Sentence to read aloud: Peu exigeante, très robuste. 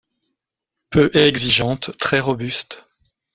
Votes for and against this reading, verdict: 2, 1, accepted